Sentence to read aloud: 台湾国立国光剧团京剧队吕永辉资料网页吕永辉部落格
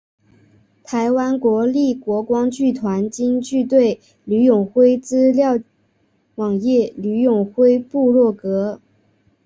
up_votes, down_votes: 2, 0